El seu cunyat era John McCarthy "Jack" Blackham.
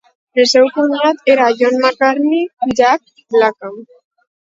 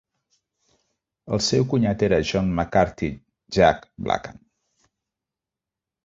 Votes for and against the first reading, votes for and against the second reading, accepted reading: 0, 4, 2, 0, second